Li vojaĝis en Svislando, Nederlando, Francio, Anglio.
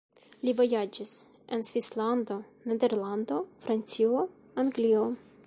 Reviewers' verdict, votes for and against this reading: accepted, 2, 0